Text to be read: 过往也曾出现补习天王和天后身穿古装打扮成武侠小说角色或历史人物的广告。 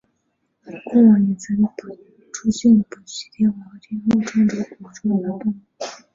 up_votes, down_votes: 0, 4